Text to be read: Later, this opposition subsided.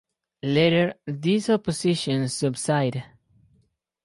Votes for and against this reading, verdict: 2, 2, rejected